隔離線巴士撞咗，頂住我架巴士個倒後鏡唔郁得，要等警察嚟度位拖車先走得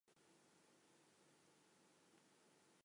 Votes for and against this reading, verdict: 0, 2, rejected